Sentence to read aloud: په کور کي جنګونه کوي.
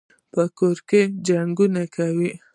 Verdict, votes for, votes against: accepted, 2, 0